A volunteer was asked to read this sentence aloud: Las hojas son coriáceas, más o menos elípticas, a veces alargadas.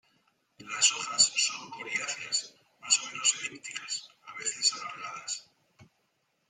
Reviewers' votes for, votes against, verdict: 1, 2, rejected